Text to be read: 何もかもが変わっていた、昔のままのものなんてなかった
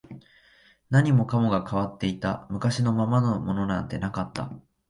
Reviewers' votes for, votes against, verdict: 2, 1, accepted